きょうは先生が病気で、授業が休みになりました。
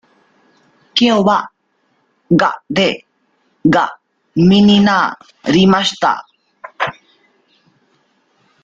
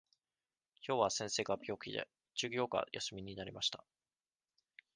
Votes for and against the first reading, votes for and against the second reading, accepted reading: 0, 3, 2, 0, second